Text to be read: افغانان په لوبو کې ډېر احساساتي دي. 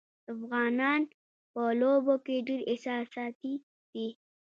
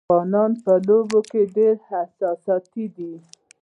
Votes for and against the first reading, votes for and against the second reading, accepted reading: 2, 0, 0, 2, first